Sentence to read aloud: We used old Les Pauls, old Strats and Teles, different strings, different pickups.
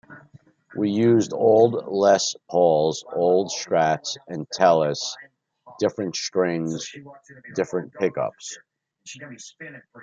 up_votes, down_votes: 1, 2